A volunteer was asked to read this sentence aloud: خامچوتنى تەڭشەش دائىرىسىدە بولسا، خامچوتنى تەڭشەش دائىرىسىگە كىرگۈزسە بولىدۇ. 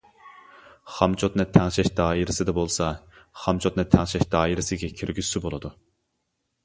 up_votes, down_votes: 2, 0